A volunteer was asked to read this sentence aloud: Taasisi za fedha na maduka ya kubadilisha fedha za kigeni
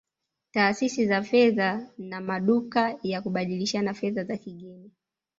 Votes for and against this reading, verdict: 0, 2, rejected